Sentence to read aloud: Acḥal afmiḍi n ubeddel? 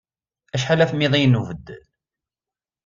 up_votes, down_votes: 2, 0